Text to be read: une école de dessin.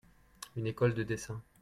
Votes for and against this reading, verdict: 2, 0, accepted